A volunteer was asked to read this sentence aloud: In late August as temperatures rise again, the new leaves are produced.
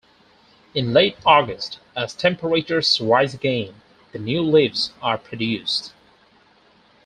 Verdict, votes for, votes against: accepted, 4, 0